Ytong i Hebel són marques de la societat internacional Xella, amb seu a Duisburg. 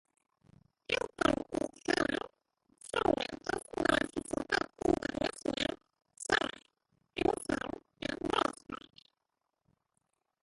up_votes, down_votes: 1, 2